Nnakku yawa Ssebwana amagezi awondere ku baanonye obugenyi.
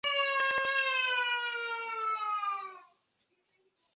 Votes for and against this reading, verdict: 0, 2, rejected